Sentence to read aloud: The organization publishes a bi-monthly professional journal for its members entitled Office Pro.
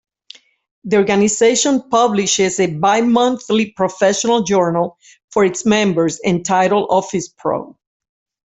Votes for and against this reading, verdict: 2, 0, accepted